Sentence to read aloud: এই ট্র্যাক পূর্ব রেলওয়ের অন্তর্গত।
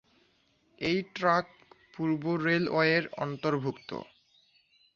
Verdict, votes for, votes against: rejected, 1, 2